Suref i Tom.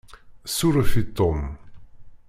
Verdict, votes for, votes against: accepted, 2, 0